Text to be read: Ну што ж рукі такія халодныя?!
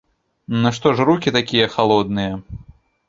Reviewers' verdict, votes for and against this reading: accepted, 2, 0